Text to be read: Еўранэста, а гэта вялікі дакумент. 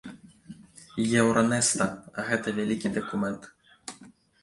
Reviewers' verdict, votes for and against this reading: rejected, 0, 2